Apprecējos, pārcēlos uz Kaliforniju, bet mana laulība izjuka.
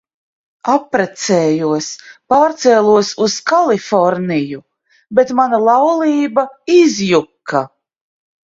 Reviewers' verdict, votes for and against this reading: accepted, 2, 0